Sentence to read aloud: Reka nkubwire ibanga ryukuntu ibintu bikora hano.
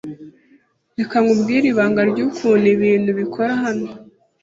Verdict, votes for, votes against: accepted, 2, 0